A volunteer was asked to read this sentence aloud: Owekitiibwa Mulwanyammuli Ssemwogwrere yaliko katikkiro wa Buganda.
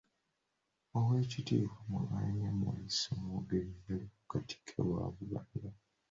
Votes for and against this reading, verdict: 2, 1, accepted